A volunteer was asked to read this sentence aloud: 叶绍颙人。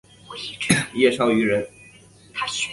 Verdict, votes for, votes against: accepted, 2, 0